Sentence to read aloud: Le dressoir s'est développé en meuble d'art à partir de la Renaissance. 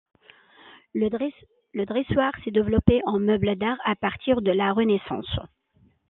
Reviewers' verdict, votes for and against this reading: rejected, 0, 2